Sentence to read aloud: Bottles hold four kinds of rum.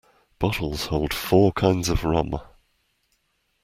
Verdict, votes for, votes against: accepted, 2, 0